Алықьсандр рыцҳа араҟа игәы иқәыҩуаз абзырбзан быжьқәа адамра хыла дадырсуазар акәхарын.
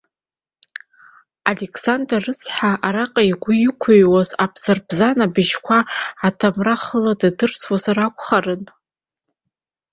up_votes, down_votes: 2, 0